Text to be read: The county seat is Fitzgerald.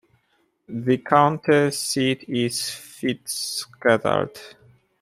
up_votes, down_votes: 1, 2